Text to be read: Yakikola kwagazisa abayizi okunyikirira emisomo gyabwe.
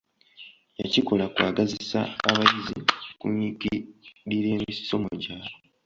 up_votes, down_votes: 2, 0